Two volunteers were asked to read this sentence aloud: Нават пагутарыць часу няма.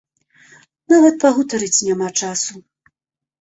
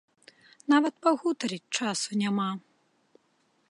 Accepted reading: second